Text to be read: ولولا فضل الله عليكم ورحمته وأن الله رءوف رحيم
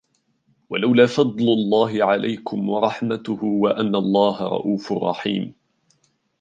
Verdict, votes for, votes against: accepted, 2, 0